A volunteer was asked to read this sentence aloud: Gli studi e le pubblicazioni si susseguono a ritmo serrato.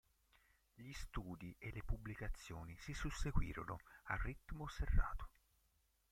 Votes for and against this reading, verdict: 0, 4, rejected